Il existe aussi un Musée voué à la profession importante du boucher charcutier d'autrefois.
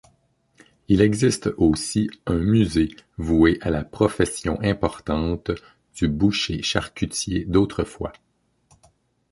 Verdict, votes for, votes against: accepted, 2, 0